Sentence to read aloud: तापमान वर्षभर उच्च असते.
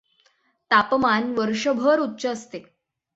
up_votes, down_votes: 6, 0